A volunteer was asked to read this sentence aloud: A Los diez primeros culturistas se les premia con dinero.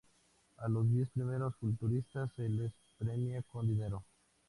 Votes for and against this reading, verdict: 4, 2, accepted